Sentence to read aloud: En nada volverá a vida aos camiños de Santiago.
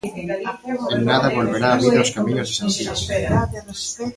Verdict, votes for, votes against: rejected, 0, 2